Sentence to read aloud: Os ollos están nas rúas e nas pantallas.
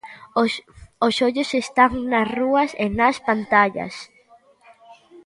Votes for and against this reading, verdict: 0, 2, rejected